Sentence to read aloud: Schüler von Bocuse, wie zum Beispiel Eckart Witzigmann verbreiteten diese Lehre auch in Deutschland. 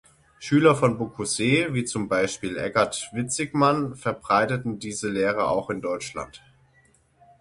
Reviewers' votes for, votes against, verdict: 0, 6, rejected